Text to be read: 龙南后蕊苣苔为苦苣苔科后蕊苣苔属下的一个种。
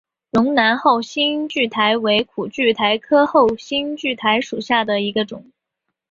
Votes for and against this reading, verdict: 7, 0, accepted